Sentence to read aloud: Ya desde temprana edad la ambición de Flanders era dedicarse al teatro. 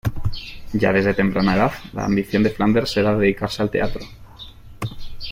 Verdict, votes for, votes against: accepted, 2, 0